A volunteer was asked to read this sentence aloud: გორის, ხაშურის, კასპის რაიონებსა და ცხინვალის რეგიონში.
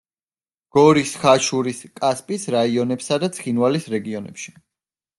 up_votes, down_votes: 0, 2